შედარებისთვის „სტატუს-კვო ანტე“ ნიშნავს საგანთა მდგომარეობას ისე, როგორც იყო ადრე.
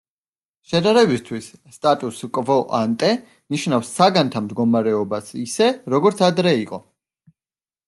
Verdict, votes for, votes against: rejected, 0, 2